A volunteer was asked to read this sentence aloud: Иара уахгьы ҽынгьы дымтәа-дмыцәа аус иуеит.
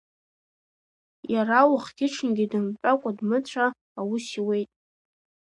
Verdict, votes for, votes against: rejected, 1, 2